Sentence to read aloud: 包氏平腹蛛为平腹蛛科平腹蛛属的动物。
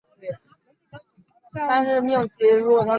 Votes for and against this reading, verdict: 0, 2, rejected